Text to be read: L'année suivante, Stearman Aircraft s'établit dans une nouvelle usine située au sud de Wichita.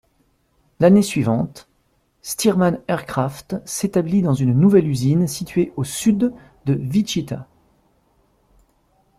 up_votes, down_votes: 1, 2